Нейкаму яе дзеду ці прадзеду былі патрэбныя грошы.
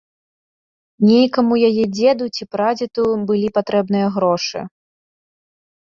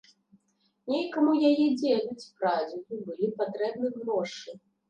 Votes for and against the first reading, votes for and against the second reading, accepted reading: 2, 0, 0, 2, first